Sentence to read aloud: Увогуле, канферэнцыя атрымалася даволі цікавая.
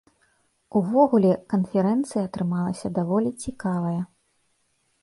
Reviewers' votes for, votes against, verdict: 2, 0, accepted